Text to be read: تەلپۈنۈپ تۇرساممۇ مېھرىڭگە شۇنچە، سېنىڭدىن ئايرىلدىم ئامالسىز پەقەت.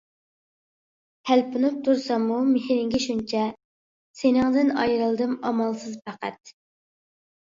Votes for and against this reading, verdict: 2, 0, accepted